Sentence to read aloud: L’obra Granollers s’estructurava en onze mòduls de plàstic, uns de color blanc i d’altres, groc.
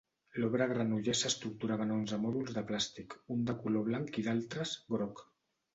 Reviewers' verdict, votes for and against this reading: rejected, 0, 2